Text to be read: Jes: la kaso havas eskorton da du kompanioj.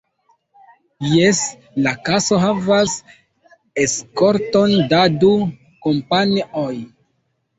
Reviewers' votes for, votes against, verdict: 1, 2, rejected